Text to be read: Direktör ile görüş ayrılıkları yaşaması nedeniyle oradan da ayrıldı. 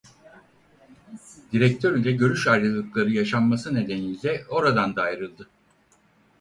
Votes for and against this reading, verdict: 2, 4, rejected